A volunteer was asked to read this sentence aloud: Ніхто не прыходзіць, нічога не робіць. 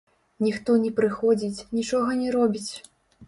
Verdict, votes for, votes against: rejected, 1, 2